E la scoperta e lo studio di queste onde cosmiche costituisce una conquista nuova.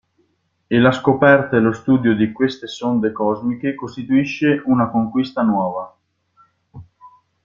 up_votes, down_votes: 0, 2